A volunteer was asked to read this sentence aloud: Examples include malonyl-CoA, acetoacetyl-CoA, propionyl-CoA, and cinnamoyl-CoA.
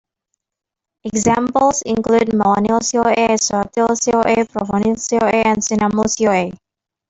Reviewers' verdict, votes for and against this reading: rejected, 1, 2